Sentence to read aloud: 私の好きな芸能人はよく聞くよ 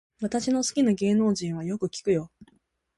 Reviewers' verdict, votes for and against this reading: accepted, 2, 0